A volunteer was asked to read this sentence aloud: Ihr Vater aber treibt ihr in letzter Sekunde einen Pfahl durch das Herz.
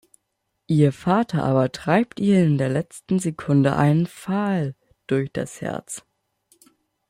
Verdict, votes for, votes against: accepted, 2, 1